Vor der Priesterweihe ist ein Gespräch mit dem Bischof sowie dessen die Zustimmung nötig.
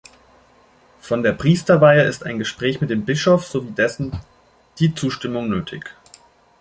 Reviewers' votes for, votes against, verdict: 1, 2, rejected